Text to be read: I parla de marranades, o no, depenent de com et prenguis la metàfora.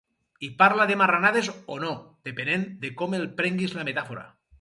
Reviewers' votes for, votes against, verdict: 2, 2, rejected